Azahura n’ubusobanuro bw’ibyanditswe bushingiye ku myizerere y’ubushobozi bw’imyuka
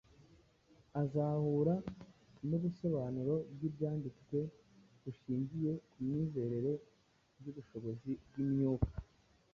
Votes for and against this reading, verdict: 2, 0, accepted